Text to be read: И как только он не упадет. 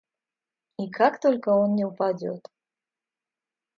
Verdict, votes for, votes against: accepted, 2, 0